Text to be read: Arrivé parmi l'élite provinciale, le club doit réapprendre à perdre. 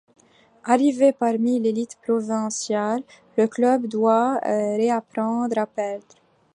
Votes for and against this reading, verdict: 1, 2, rejected